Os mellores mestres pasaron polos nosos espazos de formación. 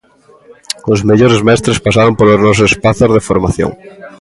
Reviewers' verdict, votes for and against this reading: accepted, 2, 0